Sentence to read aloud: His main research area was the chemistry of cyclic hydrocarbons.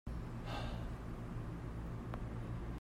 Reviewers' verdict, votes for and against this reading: rejected, 0, 2